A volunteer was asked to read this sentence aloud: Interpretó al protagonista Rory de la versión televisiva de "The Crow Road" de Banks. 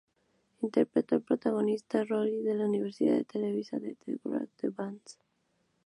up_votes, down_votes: 0, 4